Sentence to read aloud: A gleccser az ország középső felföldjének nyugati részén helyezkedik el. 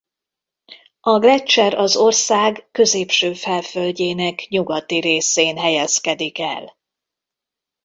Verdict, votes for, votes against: accepted, 2, 1